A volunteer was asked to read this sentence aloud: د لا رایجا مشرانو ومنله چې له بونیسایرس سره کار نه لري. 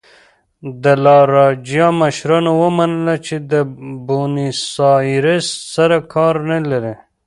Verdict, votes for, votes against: rejected, 0, 2